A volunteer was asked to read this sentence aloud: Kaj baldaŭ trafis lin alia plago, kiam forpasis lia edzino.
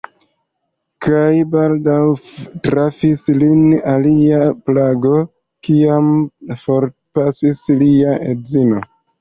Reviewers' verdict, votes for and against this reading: accepted, 2, 0